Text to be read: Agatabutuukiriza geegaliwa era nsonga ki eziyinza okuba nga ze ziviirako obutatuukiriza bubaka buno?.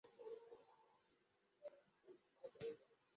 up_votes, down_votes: 0, 2